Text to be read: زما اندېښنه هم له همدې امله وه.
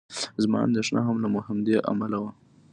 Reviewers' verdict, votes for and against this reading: accepted, 2, 0